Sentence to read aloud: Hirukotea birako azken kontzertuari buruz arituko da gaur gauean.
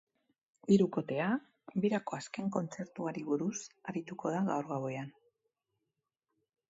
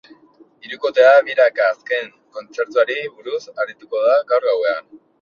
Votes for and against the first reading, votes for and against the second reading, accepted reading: 8, 0, 0, 2, first